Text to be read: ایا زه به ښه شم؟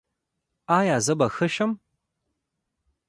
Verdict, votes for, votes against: rejected, 1, 2